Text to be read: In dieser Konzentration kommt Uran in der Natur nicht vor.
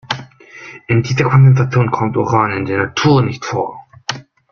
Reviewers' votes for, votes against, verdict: 1, 2, rejected